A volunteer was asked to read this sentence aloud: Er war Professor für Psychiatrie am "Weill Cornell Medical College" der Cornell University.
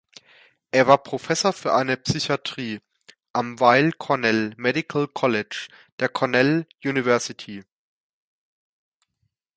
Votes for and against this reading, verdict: 0, 2, rejected